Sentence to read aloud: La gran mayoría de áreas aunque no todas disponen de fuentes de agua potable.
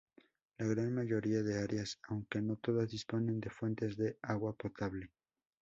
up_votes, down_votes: 0, 2